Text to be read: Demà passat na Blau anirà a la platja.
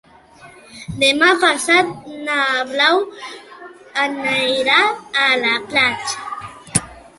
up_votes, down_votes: 1, 2